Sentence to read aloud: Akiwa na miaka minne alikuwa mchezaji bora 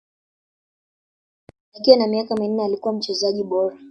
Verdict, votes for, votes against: rejected, 0, 2